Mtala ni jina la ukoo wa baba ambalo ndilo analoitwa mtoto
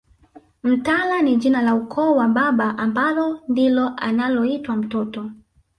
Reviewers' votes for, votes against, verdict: 0, 2, rejected